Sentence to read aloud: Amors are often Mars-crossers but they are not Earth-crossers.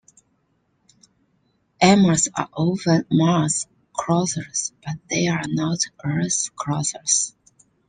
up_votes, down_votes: 0, 2